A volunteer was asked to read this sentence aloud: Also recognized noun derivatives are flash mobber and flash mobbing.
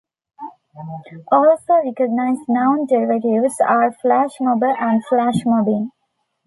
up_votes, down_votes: 1, 2